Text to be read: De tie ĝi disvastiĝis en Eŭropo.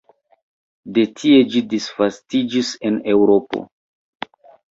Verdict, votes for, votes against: accepted, 2, 0